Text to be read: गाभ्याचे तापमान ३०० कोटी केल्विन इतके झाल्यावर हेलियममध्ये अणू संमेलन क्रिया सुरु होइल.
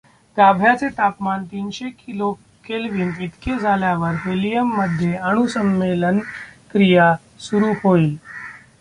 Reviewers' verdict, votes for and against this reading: rejected, 0, 2